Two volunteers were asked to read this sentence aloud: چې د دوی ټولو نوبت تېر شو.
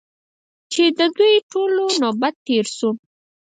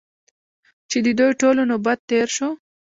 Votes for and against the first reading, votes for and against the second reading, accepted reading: 2, 4, 2, 1, second